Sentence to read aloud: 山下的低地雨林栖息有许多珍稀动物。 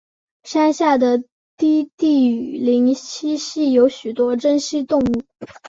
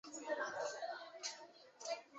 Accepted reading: first